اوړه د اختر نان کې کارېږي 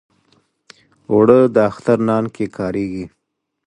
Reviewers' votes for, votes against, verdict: 2, 0, accepted